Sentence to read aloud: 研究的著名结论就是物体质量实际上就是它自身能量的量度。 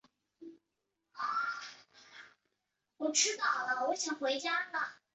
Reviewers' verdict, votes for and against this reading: rejected, 0, 2